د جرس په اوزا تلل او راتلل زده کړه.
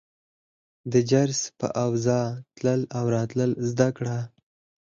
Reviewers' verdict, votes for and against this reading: rejected, 0, 4